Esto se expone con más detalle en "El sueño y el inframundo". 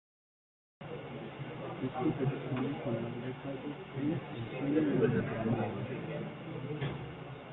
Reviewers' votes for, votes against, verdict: 0, 2, rejected